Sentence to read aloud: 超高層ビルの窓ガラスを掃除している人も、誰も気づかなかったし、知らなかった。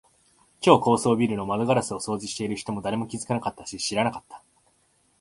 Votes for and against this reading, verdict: 2, 0, accepted